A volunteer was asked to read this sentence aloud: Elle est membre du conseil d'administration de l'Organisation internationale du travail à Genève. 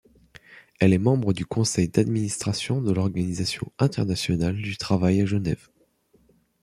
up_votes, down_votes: 2, 0